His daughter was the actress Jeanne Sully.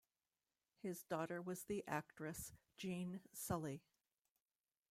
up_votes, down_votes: 2, 0